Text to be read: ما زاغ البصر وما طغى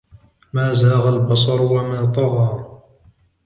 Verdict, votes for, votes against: rejected, 1, 2